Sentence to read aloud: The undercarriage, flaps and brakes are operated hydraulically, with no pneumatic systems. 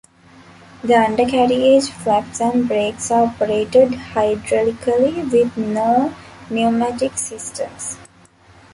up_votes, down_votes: 2, 0